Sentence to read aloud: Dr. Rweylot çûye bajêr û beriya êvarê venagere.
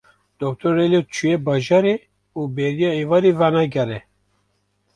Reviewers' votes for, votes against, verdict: 0, 2, rejected